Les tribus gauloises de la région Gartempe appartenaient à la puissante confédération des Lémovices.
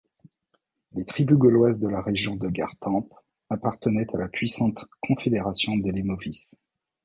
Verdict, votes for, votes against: rejected, 1, 2